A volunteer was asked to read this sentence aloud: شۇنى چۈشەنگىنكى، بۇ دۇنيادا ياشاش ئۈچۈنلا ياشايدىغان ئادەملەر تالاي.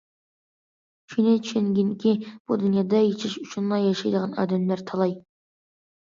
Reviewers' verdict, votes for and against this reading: accepted, 2, 0